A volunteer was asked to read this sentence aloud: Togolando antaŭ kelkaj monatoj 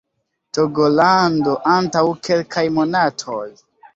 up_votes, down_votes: 2, 0